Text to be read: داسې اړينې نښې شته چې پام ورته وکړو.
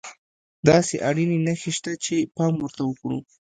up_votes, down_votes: 1, 2